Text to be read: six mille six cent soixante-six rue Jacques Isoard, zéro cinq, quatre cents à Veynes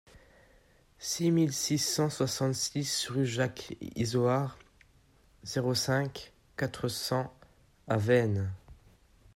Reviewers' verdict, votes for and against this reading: accepted, 2, 0